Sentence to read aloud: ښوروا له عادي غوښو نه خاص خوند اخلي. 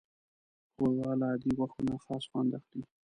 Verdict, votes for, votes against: rejected, 1, 2